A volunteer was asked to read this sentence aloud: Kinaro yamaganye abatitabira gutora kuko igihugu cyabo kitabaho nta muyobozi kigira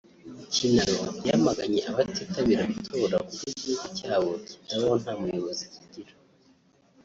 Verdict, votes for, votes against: rejected, 1, 2